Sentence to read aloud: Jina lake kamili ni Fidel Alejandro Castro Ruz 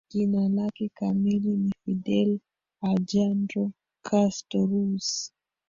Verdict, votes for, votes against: rejected, 0, 3